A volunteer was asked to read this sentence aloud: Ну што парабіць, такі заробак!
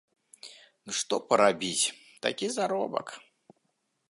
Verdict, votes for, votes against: accepted, 2, 0